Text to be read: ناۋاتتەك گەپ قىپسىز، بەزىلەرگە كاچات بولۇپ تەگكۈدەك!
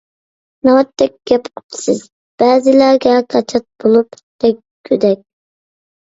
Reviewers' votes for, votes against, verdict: 2, 0, accepted